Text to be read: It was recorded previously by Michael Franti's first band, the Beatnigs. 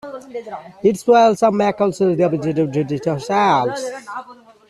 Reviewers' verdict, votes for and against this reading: rejected, 0, 2